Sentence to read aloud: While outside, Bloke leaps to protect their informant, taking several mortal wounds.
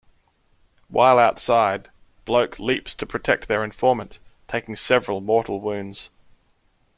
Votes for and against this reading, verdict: 2, 0, accepted